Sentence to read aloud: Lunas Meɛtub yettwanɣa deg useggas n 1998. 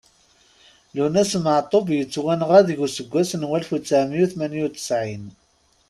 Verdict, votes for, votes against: rejected, 0, 2